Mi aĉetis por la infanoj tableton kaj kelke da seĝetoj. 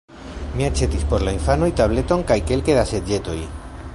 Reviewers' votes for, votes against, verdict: 1, 2, rejected